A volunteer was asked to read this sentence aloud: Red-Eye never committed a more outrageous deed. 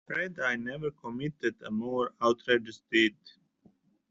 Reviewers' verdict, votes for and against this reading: accepted, 2, 0